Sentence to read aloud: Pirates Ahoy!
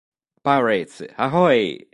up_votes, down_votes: 2, 0